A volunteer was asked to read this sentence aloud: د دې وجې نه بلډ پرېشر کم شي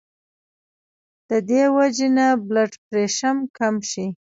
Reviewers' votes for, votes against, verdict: 1, 2, rejected